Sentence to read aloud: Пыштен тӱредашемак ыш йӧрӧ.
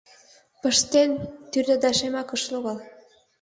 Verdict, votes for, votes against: rejected, 0, 2